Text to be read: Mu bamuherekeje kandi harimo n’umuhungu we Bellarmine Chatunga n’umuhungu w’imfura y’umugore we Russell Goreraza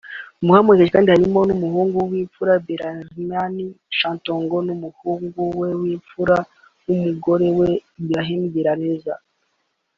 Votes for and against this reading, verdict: 1, 2, rejected